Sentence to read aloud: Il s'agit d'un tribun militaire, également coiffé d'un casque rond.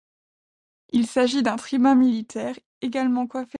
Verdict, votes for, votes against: rejected, 0, 2